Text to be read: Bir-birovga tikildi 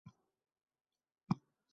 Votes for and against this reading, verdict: 0, 2, rejected